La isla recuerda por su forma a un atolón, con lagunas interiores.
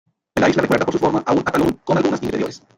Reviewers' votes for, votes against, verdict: 1, 2, rejected